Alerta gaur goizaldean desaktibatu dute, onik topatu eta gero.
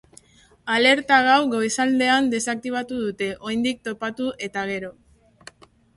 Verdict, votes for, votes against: rejected, 0, 2